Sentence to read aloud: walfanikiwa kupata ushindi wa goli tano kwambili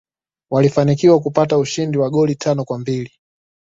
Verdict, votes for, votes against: accepted, 2, 0